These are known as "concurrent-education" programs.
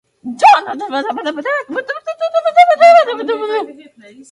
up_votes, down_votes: 0, 4